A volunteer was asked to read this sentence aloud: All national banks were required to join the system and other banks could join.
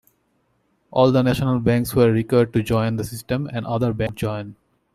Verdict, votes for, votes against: rejected, 0, 2